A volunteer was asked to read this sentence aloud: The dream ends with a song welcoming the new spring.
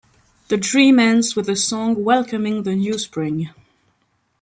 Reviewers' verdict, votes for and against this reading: accepted, 2, 0